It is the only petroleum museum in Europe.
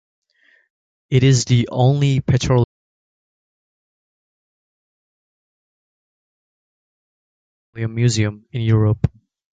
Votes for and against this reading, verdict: 2, 0, accepted